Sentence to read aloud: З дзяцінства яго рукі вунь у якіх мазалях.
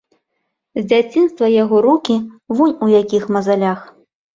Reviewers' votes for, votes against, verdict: 2, 0, accepted